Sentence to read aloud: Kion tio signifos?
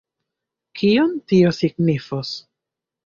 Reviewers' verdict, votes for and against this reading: rejected, 1, 2